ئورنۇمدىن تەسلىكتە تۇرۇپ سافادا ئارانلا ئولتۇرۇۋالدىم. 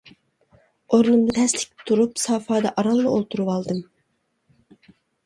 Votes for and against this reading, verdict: 0, 2, rejected